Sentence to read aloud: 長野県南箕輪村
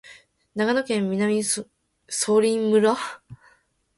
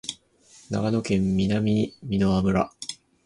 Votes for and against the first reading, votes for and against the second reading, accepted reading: 9, 11, 2, 0, second